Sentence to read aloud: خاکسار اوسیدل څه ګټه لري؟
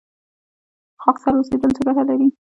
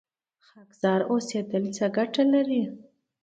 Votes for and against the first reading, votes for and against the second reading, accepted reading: 1, 2, 2, 0, second